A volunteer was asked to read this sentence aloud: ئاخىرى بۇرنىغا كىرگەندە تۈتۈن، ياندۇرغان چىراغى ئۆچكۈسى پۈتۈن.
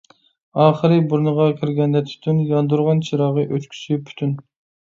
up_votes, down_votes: 2, 0